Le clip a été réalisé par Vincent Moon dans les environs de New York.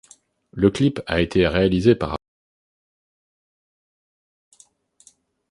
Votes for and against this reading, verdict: 0, 2, rejected